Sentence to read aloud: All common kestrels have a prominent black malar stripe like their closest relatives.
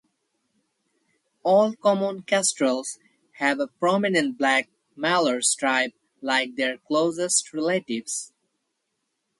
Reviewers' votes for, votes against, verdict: 4, 0, accepted